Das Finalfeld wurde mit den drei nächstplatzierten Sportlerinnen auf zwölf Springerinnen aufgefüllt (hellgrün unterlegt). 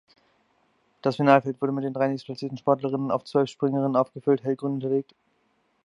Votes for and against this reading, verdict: 1, 2, rejected